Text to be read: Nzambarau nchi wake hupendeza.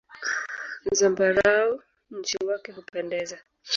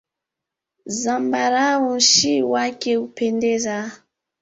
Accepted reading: second